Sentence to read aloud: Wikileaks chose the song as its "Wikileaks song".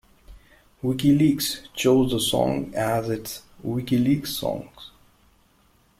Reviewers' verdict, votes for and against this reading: rejected, 0, 2